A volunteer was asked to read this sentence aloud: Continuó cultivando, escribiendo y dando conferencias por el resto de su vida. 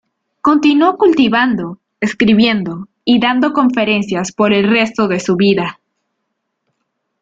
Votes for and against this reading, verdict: 3, 0, accepted